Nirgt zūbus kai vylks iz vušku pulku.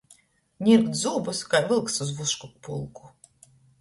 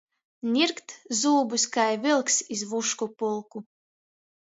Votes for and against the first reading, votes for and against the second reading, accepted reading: 2, 0, 1, 2, first